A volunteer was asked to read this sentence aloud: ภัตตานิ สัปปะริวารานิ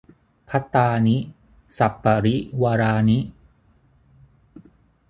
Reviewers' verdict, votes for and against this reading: accepted, 6, 0